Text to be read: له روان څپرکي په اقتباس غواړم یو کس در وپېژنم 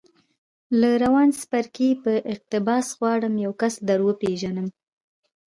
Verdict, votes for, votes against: rejected, 1, 2